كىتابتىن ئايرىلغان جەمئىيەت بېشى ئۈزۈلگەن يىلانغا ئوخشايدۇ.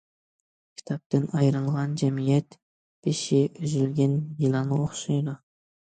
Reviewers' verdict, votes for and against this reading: accepted, 2, 0